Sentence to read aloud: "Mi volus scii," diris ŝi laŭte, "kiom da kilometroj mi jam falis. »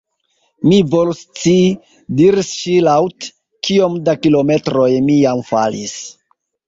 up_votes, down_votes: 1, 2